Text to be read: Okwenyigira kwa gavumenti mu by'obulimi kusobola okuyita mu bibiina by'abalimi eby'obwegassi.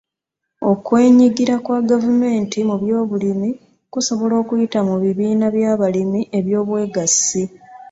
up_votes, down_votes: 2, 0